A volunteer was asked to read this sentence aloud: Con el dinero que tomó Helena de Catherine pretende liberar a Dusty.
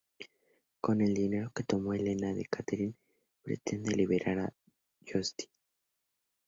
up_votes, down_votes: 2, 0